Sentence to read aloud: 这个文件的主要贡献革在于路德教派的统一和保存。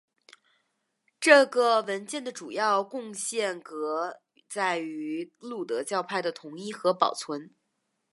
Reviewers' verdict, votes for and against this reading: rejected, 0, 2